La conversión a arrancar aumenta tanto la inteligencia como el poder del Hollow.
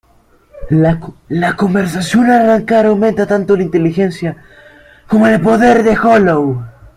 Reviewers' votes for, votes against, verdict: 0, 2, rejected